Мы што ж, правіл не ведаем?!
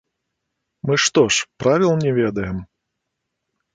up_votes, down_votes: 0, 2